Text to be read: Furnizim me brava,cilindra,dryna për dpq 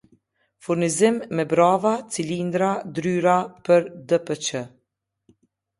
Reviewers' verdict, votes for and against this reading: rejected, 1, 2